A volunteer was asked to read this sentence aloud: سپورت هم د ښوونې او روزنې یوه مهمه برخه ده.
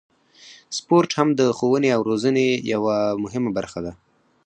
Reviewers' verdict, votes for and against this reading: rejected, 2, 4